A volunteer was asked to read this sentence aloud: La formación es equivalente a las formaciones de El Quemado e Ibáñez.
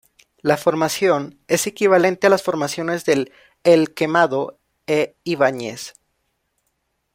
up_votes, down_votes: 1, 2